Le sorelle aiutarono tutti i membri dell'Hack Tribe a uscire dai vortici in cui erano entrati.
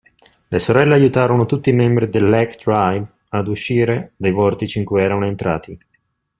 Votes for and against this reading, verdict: 2, 0, accepted